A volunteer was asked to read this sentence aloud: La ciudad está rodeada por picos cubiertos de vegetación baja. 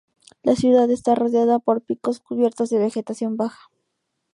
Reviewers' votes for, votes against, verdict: 2, 0, accepted